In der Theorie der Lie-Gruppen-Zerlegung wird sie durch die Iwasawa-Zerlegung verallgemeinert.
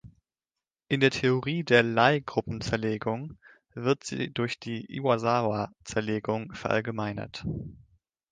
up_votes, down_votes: 2, 1